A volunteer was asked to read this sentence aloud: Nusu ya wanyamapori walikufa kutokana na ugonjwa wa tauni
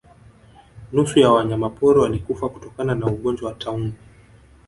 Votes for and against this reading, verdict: 1, 2, rejected